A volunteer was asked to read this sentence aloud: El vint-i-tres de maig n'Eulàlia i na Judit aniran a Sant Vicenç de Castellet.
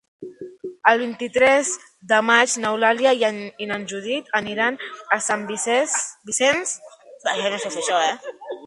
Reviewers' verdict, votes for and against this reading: rejected, 1, 4